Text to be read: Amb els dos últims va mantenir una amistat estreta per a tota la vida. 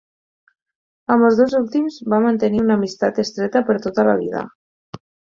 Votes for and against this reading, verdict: 0, 4, rejected